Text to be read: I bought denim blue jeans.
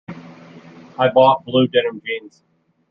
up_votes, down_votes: 0, 2